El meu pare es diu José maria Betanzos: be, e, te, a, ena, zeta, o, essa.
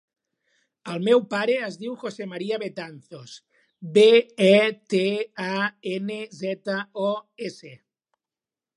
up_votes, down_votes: 1, 2